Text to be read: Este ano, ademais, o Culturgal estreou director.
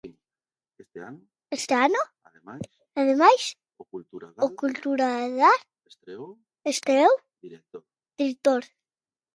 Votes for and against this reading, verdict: 0, 2, rejected